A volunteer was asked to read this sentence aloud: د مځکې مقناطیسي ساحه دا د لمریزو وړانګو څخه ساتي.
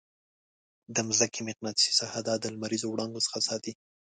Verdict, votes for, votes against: accepted, 2, 0